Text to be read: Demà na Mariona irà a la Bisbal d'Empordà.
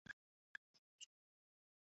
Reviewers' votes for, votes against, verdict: 0, 2, rejected